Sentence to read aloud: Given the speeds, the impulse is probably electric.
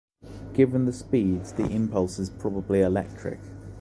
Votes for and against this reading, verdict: 2, 0, accepted